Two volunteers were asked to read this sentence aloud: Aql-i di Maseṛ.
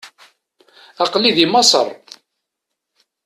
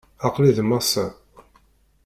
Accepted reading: first